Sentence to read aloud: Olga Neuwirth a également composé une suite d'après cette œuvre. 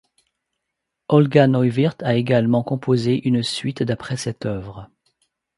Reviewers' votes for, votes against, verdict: 2, 0, accepted